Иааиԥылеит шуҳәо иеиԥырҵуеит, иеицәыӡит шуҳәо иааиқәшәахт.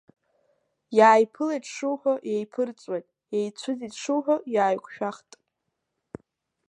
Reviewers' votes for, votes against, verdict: 2, 0, accepted